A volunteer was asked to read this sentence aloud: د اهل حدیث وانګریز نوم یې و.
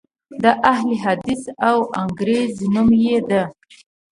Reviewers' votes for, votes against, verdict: 1, 2, rejected